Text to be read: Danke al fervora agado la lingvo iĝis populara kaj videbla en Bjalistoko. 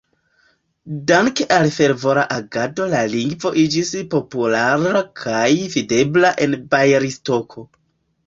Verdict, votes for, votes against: rejected, 1, 2